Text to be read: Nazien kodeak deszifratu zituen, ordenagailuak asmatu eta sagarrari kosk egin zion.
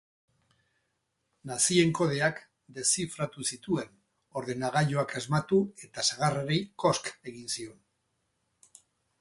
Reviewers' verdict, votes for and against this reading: rejected, 2, 2